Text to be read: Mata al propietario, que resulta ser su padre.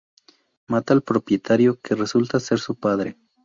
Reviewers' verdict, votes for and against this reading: rejected, 0, 2